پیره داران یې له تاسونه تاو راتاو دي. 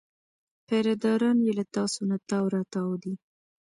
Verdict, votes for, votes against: rejected, 1, 2